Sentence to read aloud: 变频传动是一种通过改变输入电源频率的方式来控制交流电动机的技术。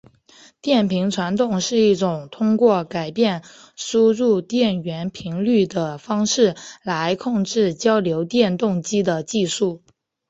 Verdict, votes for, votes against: accepted, 3, 1